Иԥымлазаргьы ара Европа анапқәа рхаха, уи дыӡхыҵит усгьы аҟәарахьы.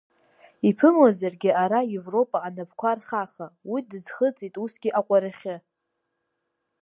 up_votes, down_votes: 3, 0